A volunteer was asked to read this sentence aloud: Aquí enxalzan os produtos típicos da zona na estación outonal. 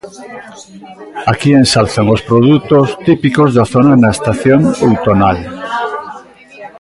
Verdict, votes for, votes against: accepted, 2, 1